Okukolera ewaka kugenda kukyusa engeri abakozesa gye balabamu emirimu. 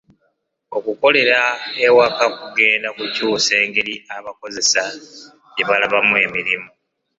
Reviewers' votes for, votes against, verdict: 2, 0, accepted